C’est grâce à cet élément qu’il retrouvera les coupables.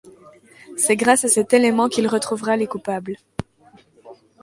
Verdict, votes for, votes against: accepted, 2, 0